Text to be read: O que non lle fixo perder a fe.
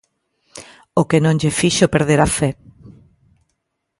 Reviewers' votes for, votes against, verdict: 2, 0, accepted